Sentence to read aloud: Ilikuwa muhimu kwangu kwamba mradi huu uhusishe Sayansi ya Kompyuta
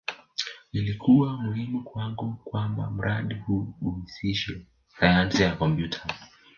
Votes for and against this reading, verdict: 3, 1, accepted